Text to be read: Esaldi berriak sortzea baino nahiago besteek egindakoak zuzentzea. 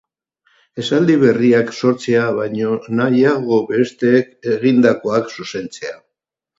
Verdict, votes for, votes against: accepted, 4, 0